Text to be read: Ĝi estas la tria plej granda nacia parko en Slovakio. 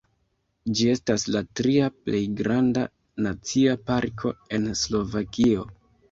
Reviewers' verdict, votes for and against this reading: rejected, 0, 2